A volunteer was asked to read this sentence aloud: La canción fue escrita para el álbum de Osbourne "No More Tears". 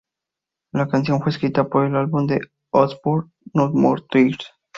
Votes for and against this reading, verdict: 2, 0, accepted